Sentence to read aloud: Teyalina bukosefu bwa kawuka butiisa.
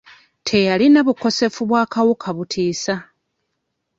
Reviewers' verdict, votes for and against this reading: accepted, 2, 1